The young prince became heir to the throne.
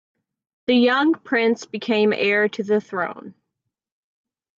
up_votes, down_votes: 2, 0